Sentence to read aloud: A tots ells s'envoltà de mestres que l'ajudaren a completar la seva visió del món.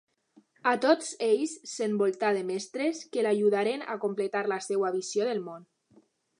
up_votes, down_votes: 1, 2